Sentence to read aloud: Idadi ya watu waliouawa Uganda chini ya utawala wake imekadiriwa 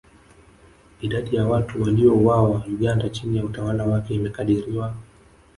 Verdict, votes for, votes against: accepted, 2, 1